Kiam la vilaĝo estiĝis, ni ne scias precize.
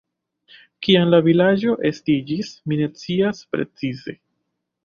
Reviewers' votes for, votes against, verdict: 1, 2, rejected